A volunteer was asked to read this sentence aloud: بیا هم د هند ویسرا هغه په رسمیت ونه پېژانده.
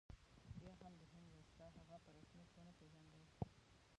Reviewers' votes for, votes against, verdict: 0, 2, rejected